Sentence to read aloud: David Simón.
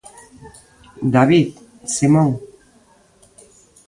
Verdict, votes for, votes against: accepted, 2, 0